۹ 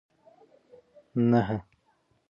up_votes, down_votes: 0, 2